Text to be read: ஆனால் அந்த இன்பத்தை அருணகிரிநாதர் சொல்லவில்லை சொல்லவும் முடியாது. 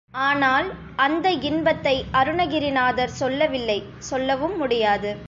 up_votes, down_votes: 2, 0